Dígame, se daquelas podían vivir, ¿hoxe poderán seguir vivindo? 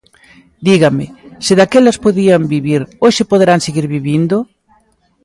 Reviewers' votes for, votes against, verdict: 2, 0, accepted